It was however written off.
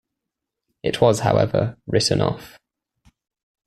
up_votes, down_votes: 2, 0